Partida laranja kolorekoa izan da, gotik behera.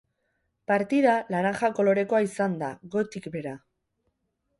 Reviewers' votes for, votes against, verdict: 2, 2, rejected